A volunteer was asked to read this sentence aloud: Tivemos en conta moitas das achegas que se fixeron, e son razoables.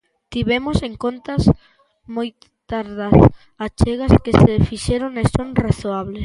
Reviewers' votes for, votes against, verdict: 0, 2, rejected